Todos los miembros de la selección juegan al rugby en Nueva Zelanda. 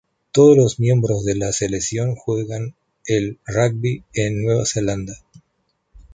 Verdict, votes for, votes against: rejected, 0, 2